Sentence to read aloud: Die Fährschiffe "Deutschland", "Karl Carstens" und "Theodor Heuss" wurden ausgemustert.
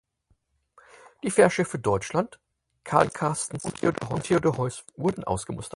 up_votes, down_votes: 0, 4